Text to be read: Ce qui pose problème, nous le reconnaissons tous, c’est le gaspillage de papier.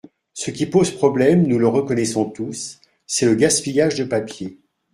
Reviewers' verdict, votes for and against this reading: accepted, 2, 0